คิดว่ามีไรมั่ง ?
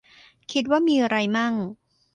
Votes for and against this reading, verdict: 0, 2, rejected